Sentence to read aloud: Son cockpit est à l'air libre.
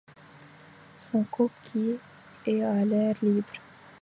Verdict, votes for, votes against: rejected, 0, 2